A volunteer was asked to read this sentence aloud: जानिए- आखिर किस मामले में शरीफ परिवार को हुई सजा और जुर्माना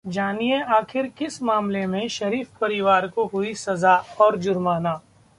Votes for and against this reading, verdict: 2, 0, accepted